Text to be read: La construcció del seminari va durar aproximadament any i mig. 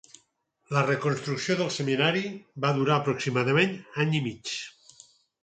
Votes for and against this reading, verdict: 0, 4, rejected